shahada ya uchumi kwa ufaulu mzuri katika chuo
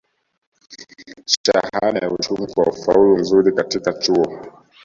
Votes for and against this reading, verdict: 0, 2, rejected